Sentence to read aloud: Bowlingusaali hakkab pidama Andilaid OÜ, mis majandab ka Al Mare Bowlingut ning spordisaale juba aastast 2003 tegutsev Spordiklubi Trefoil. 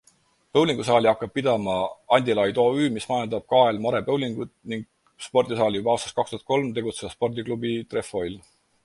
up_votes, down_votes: 0, 2